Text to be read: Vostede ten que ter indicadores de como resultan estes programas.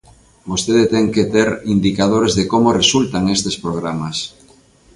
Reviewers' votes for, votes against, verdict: 2, 0, accepted